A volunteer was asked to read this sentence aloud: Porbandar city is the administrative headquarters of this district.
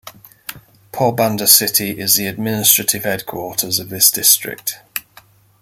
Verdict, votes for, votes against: accepted, 2, 0